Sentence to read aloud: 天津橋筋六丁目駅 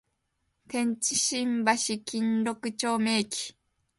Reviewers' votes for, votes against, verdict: 2, 0, accepted